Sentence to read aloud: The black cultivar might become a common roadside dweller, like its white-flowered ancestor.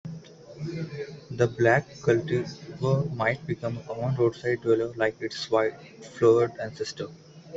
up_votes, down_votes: 0, 2